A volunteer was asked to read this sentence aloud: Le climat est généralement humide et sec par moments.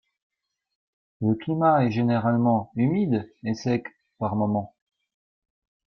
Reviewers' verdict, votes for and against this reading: accepted, 2, 0